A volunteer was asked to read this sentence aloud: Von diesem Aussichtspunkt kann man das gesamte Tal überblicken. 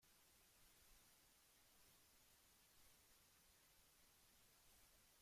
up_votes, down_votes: 0, 2